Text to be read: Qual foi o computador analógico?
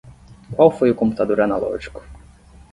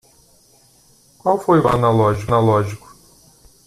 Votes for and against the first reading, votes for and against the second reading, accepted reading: 10, 0, 0, 2, first